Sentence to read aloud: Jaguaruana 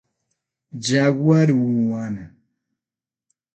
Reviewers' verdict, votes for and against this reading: rejected, 0, 6